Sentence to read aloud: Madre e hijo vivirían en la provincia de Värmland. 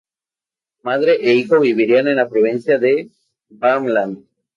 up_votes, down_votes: 0, 4